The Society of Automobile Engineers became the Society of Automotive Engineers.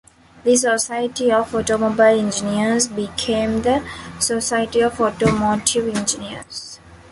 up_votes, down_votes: 1, 2